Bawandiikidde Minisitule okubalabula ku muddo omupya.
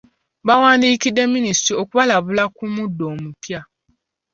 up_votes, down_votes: 2, 0